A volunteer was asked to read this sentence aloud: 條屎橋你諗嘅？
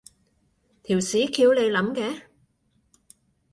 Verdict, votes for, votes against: accepted, 2, 0